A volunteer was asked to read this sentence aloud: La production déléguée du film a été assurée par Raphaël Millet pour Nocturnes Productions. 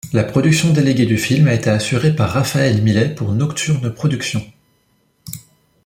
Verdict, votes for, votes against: rejected, 0, 2